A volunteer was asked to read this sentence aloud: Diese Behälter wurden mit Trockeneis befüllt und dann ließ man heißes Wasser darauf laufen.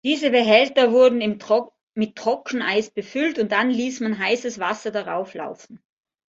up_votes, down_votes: 0, 2